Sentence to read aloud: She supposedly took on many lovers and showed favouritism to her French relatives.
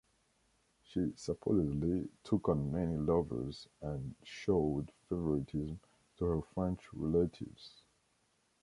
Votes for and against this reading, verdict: 2, 0, accepted